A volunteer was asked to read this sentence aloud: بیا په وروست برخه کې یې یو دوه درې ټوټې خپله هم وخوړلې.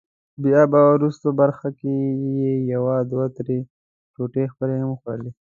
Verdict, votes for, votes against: rejected, 0, 2